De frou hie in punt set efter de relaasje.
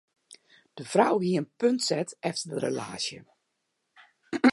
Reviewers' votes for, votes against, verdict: 0, 2, rejected